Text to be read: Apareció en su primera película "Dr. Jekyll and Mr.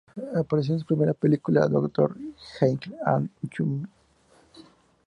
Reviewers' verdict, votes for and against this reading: rejected, 0, 4